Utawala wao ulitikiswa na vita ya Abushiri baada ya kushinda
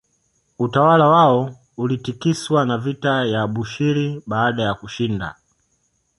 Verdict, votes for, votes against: accepted, 2, 0